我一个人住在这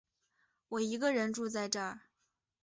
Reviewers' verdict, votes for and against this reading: accepted, 4, 0